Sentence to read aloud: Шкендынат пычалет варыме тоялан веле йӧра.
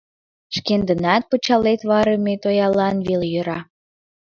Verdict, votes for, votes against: accepted, 2, 0